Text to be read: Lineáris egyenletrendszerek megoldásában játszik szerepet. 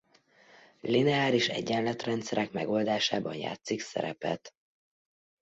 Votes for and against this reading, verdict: 2, 0, accepted